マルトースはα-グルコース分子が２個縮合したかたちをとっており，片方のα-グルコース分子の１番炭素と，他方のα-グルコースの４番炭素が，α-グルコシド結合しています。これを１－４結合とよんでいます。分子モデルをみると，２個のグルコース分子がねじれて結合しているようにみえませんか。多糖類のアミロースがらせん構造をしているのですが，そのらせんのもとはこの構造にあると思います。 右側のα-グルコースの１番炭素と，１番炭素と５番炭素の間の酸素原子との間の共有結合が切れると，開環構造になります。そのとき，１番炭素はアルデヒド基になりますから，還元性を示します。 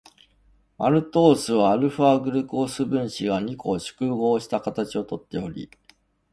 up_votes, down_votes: 0, 2